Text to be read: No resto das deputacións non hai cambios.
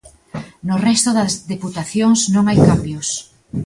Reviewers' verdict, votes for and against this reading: accepted, 2, 0